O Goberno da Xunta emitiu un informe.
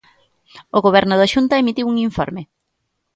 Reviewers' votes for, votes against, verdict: 2, 0, accepted